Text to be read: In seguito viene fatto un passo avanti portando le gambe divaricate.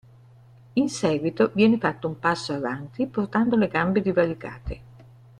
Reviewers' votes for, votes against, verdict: 2, 0, accepted